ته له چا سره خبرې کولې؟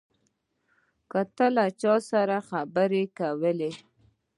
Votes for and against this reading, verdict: 0, 2, rejected